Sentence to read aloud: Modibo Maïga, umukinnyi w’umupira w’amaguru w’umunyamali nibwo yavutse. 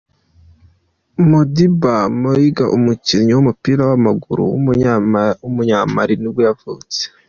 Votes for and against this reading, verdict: 0, 2, rejected